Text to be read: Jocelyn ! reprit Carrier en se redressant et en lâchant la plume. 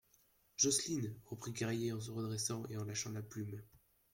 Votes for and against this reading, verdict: 0, 2, rejected